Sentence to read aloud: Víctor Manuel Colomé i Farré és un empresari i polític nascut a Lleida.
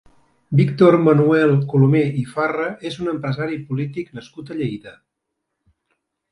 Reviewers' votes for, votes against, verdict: 0, 2, rejected